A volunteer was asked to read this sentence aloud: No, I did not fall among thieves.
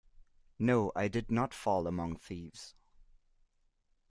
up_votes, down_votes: 2, 0